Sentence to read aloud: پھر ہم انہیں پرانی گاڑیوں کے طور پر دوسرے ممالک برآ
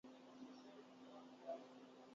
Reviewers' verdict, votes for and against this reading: rejected, 0, 3